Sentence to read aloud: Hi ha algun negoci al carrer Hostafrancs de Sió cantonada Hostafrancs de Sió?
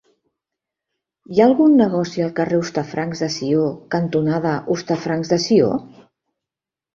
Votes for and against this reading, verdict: 4, 0, accepted